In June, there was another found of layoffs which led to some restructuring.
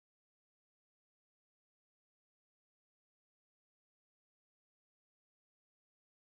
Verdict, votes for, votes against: rejected, 0, 2